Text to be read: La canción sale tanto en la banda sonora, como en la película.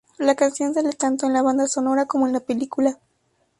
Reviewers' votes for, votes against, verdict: 0, 2, rejected